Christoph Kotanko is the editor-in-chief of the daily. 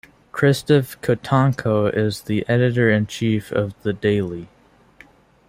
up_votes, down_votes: 2, 1